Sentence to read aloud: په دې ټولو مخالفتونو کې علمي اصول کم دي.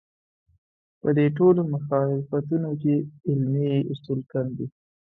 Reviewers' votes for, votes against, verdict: 2, 0, accepted